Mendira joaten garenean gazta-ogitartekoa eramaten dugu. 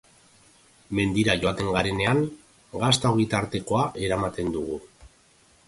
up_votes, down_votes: 2, 0